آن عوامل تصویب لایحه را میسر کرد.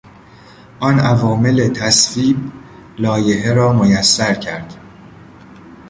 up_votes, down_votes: 0, 2